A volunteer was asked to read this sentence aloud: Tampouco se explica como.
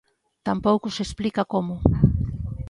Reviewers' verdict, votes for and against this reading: accepted, 2, 0